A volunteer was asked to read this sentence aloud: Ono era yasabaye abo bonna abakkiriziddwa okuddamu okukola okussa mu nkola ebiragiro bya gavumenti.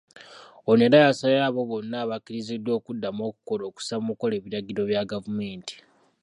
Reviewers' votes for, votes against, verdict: 3, 0, accepted